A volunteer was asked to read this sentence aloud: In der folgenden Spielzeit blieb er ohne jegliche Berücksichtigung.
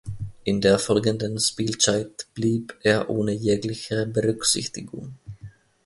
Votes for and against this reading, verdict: 0, 2, rejected